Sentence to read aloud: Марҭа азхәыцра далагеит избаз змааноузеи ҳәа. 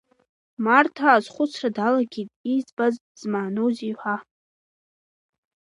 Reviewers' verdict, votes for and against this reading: rejected, 1, 2